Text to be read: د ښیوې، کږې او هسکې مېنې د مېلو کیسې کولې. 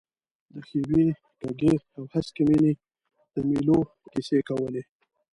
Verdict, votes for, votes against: rejected, 0, 2